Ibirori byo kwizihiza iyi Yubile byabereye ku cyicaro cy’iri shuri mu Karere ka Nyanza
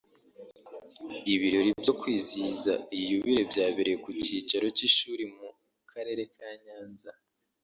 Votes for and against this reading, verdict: 1, 2, rejected